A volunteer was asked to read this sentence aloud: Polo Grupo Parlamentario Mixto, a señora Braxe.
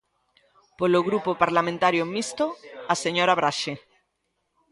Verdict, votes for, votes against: accepted, 2, 0